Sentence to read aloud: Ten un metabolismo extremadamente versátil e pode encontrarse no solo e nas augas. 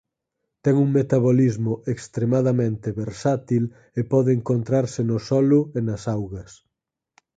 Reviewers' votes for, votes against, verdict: 4, 0, accepted